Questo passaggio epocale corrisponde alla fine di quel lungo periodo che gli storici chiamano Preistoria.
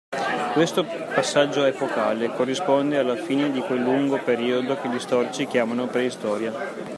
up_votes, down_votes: 2, 0